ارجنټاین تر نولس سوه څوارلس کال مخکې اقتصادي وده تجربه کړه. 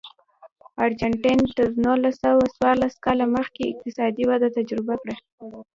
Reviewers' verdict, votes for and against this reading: rejected, 1, 2